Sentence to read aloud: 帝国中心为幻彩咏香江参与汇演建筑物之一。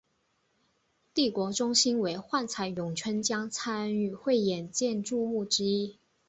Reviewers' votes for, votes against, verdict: 2, 0, accepted